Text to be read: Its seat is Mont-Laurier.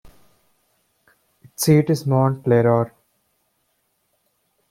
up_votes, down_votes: 0, 2